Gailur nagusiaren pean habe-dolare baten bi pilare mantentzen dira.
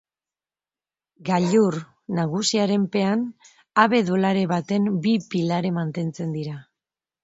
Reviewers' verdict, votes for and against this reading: accepted, 3, 0